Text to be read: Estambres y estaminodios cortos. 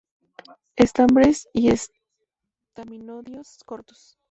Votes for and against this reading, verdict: 0, 2, rejected